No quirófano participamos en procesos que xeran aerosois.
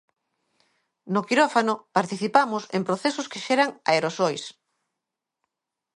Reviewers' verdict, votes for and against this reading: accepted, 2, 0